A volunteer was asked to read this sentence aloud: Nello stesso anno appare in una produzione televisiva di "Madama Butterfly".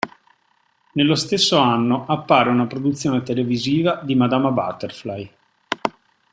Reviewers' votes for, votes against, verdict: 1, 2, rejected